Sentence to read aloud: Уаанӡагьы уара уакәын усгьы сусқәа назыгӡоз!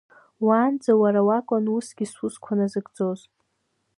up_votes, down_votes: 1, 2